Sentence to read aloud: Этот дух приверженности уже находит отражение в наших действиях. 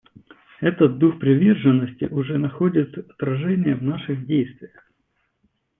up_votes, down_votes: 2, 0